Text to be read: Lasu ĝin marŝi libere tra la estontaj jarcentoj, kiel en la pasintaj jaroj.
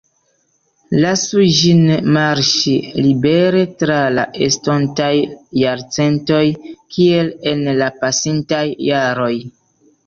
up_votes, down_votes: 0, 2